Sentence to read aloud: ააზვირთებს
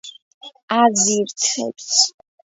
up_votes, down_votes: 0, 2